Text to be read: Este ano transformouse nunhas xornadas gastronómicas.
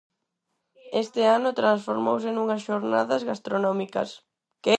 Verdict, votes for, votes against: rejected, 0, 4